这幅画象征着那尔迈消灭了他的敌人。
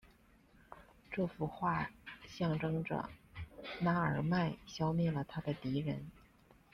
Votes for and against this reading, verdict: 2, 0, accepted